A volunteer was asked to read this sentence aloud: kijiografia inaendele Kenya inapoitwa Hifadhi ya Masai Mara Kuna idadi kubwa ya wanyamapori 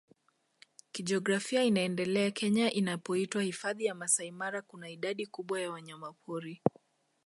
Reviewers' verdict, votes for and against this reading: accepted, 2, 0